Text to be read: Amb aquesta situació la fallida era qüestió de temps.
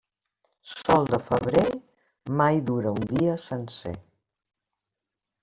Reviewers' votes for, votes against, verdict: 0, 2, rejected